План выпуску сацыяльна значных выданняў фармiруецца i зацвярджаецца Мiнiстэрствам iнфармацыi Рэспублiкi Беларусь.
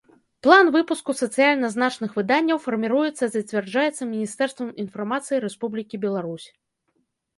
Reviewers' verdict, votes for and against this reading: accepted, 2, 0